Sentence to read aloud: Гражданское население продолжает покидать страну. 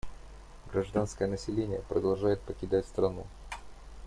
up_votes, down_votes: 2, 0